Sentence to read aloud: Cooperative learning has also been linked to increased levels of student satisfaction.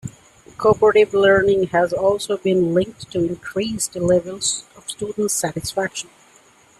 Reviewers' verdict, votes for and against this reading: accepted, 2, 1